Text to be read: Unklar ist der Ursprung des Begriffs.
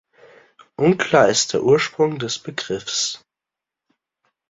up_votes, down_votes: 2, 0